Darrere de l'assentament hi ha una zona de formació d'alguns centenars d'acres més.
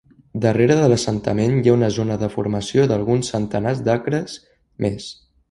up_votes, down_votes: 3, 0